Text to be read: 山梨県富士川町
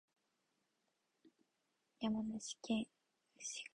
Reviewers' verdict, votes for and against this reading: rejected, 0, 2